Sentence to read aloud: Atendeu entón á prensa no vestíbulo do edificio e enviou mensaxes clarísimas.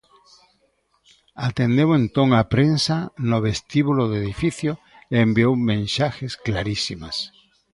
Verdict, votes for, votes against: rejected, 0, 2